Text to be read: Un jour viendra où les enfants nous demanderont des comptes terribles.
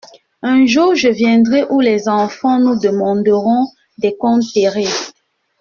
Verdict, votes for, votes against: rejected, 0, 2